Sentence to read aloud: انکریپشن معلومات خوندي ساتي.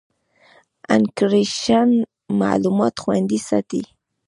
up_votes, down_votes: 2, 0